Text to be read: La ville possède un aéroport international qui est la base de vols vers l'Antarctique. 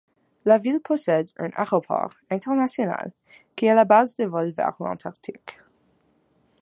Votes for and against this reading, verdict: 1, 2, rejected